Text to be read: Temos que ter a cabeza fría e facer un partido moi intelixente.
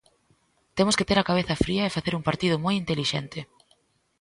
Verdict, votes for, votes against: accepted, 2, 0